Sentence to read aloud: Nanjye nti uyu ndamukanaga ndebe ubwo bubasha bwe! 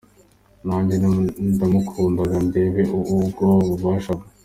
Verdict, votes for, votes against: accepted, 2, 1